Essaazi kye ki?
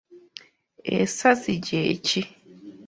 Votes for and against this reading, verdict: 0, 2, rejected